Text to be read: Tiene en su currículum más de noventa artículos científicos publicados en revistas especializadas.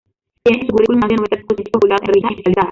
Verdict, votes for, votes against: rejected, 0, 2